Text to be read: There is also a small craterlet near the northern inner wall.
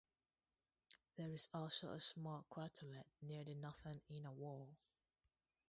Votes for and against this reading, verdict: 2, 2, rejected